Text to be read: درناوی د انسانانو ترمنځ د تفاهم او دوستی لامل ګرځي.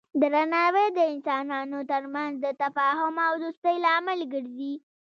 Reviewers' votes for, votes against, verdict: 1, 2, rejected